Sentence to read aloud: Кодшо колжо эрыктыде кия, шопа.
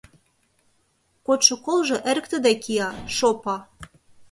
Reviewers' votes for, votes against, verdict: 1, 2, rejected